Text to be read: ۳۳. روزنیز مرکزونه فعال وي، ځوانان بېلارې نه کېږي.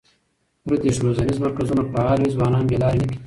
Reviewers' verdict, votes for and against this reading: rejected, 0, 2